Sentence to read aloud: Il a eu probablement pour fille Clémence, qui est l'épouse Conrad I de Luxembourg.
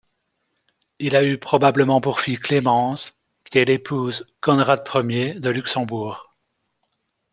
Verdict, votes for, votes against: rejected, 1, 2